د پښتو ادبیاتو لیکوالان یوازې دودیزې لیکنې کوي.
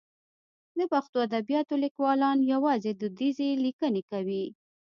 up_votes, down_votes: 0, 2